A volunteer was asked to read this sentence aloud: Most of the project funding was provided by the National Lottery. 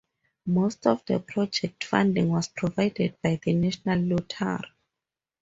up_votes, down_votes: 2, 2